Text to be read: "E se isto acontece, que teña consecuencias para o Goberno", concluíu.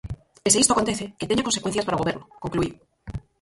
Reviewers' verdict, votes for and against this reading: rejected, 2, 4